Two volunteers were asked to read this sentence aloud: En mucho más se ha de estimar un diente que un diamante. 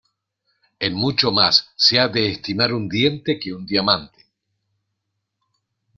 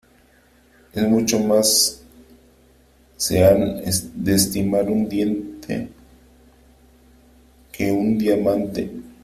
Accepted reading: first